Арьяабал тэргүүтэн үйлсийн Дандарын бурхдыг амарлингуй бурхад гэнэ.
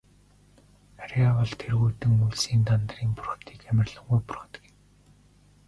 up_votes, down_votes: 0, 2